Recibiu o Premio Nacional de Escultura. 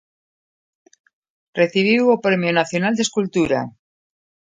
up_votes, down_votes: 2, 0